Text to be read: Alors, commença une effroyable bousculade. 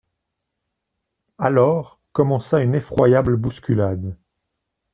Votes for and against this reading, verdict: 2, 0, accepted